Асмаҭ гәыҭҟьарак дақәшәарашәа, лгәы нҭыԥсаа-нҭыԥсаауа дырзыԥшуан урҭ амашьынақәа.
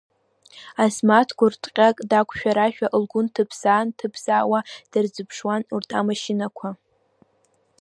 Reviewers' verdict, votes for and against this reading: accepted, 2, 1